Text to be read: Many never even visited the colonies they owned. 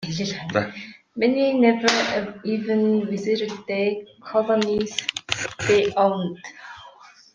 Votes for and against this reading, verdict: 1, 2, rejected